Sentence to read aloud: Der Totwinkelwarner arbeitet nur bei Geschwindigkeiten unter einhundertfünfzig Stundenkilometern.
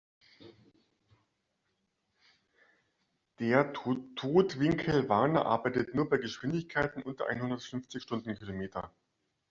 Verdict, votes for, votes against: rejected, 0, 2